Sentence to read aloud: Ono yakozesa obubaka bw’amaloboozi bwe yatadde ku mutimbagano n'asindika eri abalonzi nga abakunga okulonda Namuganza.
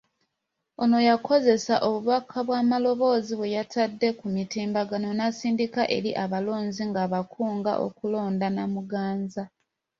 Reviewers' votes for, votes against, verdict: 2, 0, accepted